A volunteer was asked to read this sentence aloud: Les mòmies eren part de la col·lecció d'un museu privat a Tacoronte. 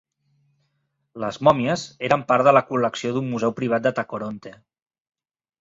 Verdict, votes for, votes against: rejected, 1, 2